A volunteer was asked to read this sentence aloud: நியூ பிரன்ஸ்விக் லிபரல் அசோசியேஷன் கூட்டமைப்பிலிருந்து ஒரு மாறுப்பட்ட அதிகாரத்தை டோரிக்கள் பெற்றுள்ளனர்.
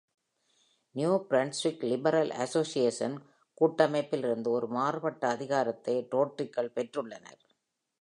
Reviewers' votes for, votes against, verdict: 1, 2, rejected